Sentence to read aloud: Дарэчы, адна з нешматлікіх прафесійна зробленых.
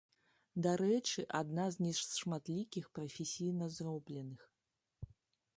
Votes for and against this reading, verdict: 0, 2, rejected